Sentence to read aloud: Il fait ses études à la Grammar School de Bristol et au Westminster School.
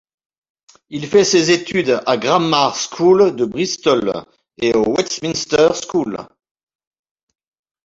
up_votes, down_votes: 0, 2